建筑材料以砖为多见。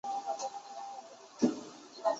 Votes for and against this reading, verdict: 1, 5, rejected